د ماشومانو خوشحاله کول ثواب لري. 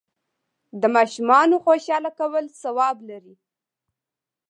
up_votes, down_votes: 2, 0